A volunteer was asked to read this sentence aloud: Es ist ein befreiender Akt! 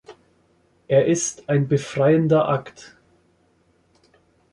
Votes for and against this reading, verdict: 0, 2, rejected